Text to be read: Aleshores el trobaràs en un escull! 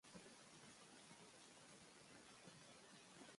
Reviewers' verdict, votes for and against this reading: rejected, 0, 2